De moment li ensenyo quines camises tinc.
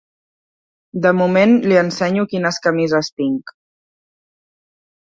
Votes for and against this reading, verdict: 2, 0, accepted